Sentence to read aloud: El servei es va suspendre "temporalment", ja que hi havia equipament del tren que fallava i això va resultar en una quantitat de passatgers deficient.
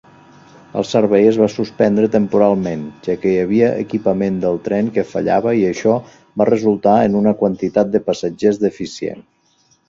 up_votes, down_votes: 2, 0